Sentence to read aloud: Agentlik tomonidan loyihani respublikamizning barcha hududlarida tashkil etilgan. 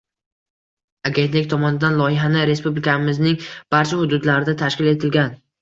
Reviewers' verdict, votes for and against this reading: accepted, 2, 0